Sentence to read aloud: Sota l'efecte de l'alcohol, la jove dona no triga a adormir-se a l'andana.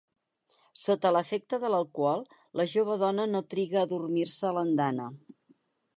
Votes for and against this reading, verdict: 4, 0, accepted